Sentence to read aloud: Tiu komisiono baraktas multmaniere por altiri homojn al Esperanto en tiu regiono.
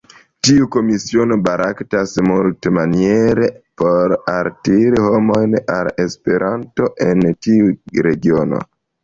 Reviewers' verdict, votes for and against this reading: accepted, 2, 0